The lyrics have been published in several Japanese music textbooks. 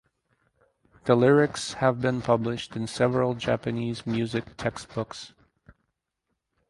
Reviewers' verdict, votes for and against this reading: accepted, 4, 0